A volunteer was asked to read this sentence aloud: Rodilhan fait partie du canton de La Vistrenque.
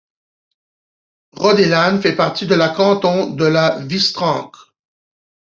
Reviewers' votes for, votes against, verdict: 0, 2, rejected